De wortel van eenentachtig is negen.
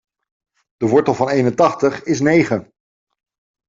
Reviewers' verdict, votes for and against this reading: accepted, 2, 0